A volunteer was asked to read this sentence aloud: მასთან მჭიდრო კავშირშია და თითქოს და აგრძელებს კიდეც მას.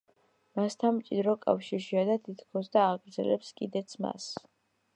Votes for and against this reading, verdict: 2, 0, accepted